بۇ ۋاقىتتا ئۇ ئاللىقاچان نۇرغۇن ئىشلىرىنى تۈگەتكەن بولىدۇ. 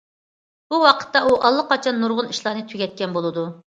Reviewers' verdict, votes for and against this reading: rejected, 1, 2